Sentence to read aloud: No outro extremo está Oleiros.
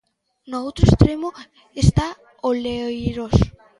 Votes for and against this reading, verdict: 0, 2, rejected